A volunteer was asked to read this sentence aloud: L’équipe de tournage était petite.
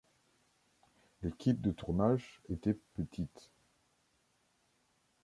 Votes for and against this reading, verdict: 2, 0, accepted